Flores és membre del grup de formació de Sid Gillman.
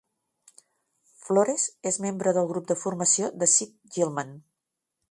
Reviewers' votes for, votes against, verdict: 2, 0, accepted